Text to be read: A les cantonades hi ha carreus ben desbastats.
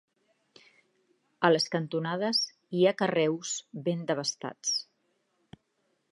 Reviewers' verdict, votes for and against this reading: accepted, 2, 1